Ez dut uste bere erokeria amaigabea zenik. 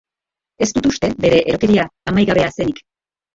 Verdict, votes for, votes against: rejected, 0, 2